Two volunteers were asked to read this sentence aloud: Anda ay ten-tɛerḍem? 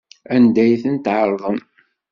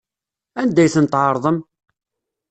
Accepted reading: second